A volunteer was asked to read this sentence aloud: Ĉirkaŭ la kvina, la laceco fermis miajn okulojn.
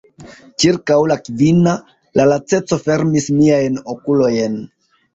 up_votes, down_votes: 2, 1